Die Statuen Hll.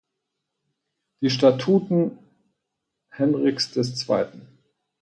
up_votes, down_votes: 2, 4